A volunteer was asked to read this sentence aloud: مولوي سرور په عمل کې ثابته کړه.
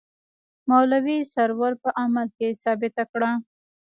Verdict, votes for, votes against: accepted, 2, 1